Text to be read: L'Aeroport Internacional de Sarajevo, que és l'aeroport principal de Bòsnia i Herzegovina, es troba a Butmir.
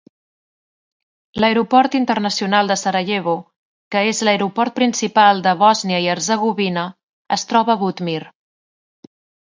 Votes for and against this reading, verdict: 2, 0, accepted